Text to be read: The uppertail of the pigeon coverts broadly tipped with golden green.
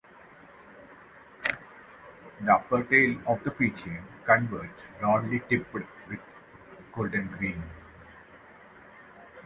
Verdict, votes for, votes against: rejected, 0, 2